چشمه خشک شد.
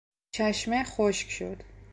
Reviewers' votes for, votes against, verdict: 2, 0, accepted